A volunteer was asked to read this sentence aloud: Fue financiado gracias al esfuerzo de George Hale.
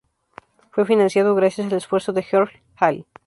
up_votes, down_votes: 2, 0